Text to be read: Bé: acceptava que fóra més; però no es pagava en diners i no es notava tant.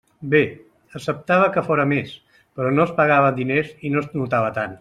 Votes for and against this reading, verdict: 2, 0, accepted